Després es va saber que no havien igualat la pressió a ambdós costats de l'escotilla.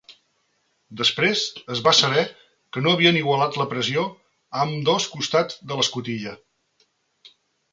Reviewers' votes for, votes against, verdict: 2, 0, accepted